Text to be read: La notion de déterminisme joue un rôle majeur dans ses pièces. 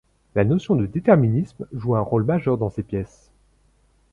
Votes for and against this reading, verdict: 0, 2, rejected